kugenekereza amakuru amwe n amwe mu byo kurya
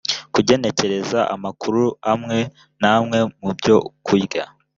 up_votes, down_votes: 2, 0